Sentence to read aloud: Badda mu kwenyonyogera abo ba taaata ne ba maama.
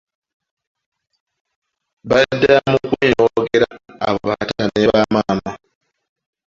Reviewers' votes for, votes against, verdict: 1, 2, rejected